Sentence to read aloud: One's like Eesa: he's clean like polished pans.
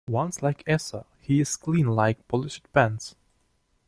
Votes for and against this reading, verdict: 2, 1, accepted